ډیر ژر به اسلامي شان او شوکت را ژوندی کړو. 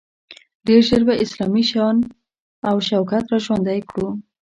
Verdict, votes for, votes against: accepted, 2, 0